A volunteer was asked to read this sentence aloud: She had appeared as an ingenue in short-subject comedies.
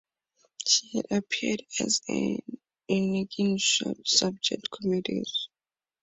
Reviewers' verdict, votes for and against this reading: rejected, 0, 4